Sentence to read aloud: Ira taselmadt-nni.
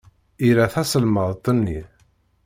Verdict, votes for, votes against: rejected, 1, 2